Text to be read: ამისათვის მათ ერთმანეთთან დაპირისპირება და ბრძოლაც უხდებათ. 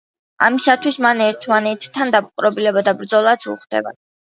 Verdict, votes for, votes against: rejected, 1, 2